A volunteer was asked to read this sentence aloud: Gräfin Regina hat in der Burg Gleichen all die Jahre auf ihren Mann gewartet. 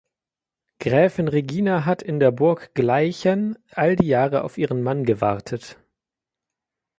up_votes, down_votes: 2, 0